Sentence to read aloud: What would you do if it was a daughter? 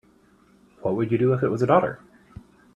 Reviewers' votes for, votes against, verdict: 2, 0, accepted